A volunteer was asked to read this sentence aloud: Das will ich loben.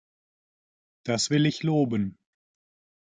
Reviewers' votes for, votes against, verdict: 2, 0, accepted